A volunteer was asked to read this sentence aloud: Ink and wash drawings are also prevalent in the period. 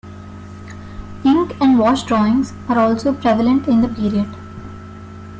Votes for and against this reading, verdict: 2, 0, accepted